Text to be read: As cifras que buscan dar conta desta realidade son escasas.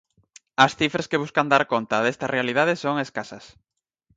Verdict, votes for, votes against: accepted, 4, 0